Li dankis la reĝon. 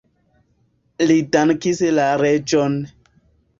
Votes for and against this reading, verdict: 2, 0, accepted